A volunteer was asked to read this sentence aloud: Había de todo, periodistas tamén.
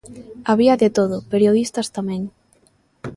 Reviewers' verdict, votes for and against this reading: accepted, 2, 0